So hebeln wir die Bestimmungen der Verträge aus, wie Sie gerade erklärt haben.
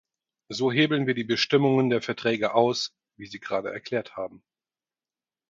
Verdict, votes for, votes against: accepted, 4, 0